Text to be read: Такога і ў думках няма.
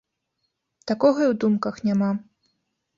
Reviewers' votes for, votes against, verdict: 2, 0, accepted